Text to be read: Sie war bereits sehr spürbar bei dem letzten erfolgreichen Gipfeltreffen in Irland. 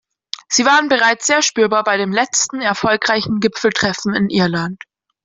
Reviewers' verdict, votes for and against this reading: rejected, 0, 2